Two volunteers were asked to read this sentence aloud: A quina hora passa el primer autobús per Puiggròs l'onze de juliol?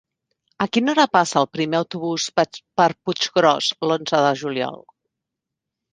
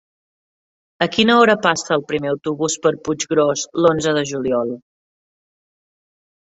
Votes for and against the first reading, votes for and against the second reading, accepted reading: 0, 2, 4, 0, second